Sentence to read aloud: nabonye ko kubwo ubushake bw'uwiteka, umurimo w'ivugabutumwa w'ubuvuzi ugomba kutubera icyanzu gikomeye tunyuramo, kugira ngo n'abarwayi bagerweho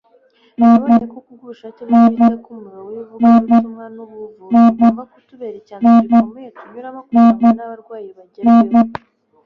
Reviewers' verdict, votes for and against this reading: rejected, 1, 2